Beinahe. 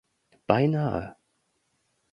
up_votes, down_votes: 2, 0